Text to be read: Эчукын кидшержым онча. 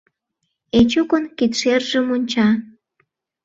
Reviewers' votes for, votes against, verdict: 2, 0, accepted